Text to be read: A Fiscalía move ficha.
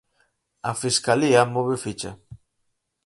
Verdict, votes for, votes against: accepted, 4, 0